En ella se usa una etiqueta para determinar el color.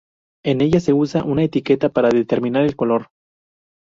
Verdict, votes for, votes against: rejected, 0, 2